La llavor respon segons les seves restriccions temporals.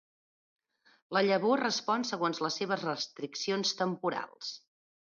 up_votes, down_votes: 2, 0